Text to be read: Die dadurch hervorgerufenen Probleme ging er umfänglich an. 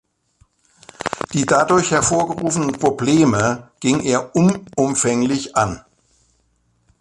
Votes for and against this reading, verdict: 0, 2, rejected